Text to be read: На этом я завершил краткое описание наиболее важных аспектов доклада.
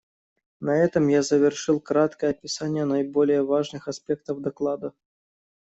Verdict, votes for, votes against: accepted, 2, 0